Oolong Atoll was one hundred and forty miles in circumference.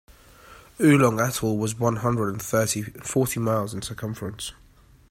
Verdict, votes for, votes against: rejected, 0, 2